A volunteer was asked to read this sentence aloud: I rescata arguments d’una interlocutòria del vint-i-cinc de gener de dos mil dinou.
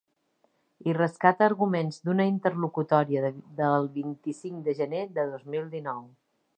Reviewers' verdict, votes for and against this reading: rejected, 1, 2